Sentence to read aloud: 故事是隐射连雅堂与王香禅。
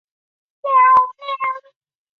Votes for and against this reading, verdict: 0, 2, rejected